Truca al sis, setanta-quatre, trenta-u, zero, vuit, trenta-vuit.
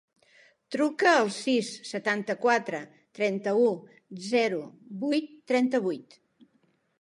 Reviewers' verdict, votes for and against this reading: accepted, 2, 0